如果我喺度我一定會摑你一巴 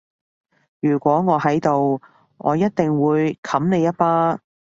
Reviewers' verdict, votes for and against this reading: rejected, 0, 2